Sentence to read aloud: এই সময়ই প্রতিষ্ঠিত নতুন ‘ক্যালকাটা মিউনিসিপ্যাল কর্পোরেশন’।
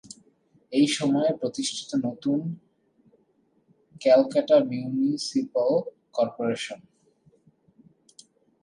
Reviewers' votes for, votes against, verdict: 1, 3, rejected